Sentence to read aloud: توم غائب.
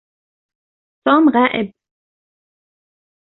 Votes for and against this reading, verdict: 2, 0, accepted